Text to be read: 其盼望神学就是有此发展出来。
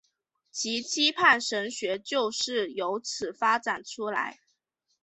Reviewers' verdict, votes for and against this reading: accepted, 2, 0